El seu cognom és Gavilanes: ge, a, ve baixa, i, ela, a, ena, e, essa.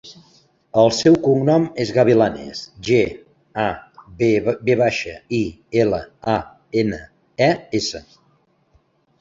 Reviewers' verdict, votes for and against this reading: rejected, 0, 2